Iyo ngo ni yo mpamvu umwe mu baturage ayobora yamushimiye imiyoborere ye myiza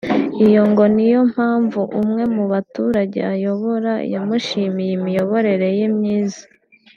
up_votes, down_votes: 3, 0